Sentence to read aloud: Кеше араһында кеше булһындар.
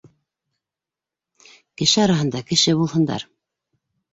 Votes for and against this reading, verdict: 3, 0, accepted